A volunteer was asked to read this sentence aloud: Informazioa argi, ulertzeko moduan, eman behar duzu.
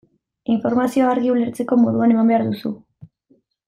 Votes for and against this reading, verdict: 2, 0, accepted